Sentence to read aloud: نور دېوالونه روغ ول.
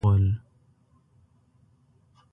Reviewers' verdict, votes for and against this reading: rejected, 0, 2